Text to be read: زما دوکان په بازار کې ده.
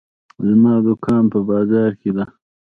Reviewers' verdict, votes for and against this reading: accepted, 2, 1